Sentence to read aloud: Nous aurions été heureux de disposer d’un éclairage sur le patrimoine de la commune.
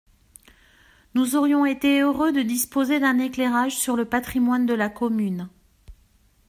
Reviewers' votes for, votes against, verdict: 2, 0, accepted